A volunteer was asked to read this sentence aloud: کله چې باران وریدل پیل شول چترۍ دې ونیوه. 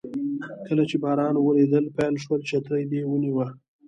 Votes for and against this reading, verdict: 1, 2, rejected